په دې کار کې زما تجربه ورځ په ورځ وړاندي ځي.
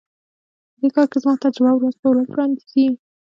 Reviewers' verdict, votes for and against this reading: accepted, 3, 0